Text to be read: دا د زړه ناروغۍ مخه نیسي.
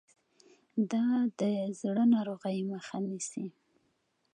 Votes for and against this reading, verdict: 2, 0, accepted